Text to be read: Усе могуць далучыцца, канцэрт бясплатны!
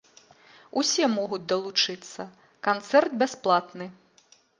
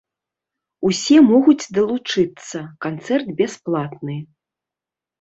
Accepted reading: first